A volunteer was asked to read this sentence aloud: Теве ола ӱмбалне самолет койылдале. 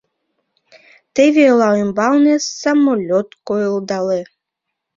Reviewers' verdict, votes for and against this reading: accepted, 2, 1